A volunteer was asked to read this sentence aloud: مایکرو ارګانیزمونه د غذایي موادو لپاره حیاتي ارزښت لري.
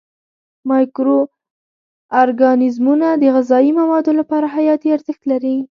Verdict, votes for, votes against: rejected, 1, 2